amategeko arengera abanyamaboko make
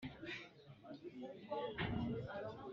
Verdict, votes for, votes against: rejected, 1, 3